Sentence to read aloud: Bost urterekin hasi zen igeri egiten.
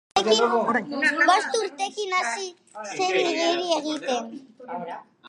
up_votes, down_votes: 0, 4